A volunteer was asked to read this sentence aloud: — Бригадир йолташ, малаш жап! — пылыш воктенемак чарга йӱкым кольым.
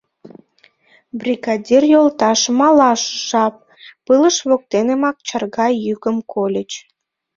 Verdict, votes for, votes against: rejected, 0, 2